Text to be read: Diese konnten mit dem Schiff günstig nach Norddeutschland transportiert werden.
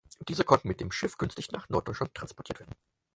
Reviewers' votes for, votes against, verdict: 4, 0, accepted